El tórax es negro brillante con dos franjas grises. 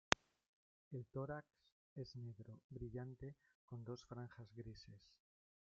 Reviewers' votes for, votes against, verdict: 0, 2, rejected